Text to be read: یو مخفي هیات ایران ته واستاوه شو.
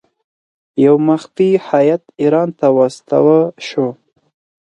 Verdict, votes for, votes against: accepted, 4, 0